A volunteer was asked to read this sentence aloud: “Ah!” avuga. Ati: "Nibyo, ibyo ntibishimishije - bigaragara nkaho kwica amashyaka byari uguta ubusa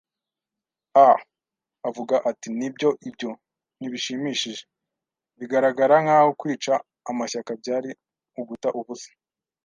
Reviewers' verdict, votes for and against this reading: accepted, 2, 0